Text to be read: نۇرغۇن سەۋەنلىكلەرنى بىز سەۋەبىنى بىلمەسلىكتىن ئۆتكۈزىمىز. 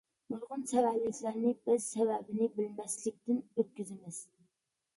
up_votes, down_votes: 2, 0